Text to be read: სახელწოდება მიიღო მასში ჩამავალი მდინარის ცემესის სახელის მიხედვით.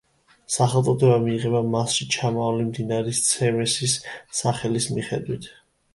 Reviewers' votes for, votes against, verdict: 0, 2, rejected